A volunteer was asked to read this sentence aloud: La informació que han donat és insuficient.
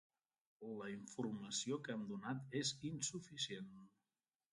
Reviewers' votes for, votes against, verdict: 0, 2, rejected